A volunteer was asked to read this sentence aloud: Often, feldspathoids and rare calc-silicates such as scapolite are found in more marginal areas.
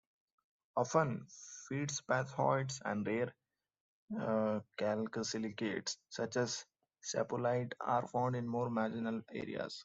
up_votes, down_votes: 1, 2